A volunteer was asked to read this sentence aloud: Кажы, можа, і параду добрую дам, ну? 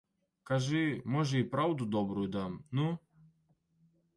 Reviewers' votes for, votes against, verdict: 1, 2, rejected